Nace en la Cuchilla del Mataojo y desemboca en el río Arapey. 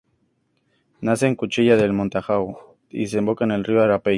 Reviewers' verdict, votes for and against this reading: rejected, 2, 2